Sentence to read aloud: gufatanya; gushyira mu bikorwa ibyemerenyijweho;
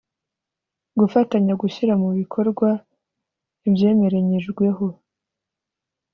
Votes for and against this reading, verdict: 2, 0, accepted